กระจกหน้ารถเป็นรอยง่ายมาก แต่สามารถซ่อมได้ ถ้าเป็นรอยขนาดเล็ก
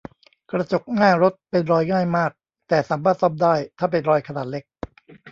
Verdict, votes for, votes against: rejected, 1, 2